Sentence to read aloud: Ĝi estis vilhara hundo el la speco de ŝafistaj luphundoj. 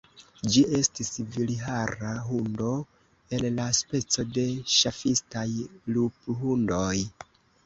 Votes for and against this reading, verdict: 2, 0, accepted